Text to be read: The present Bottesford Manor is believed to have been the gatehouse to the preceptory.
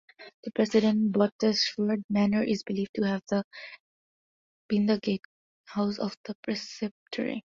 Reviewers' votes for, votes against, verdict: 0, 2, rejected